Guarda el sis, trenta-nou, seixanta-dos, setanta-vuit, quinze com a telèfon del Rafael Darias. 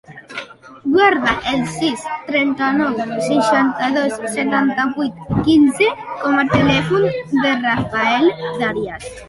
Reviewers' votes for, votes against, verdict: 1, 2, rejected